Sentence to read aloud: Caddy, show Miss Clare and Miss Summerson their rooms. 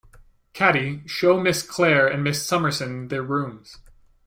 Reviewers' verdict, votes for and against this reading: accepted, 2, 0